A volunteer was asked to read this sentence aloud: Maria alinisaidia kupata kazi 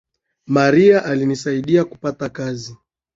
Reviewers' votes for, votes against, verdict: 2, 0, accepted